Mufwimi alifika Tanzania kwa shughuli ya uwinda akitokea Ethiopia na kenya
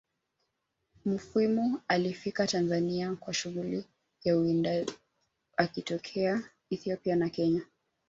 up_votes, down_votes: 2, 0